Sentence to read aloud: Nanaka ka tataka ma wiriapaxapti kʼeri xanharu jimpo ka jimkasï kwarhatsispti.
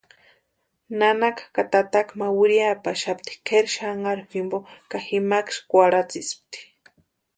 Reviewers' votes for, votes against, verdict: 2, 0, accepted